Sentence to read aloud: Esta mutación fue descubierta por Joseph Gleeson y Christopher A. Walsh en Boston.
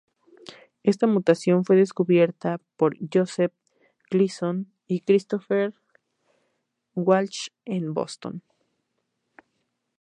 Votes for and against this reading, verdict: 2, 0, accepted